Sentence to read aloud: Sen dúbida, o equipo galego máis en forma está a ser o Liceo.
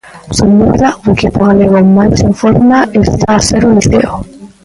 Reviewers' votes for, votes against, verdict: 0, 2, rejected